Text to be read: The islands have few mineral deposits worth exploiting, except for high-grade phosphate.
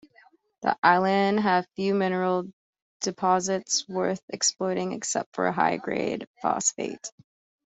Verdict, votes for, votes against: rejected, 1, 2